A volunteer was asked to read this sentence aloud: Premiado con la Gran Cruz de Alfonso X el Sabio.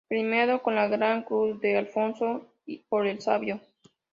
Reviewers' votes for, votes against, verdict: 0, 2, rejected